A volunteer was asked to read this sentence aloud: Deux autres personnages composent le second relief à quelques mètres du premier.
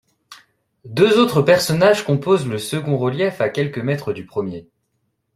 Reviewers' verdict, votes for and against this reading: accepted, 2, 0